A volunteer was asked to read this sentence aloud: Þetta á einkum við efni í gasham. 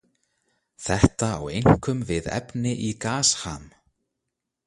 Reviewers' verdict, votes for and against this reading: rejected, 0, 2